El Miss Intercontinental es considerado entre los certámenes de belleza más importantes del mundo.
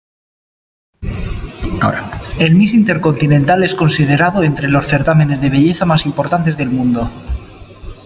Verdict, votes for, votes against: accepted, 2, 1